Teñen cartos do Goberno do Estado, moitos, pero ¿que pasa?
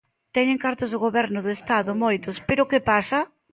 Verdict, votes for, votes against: accepted, 2, 1